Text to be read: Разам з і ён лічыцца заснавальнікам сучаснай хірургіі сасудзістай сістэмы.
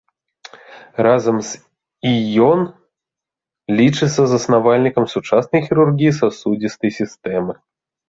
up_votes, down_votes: 0, 2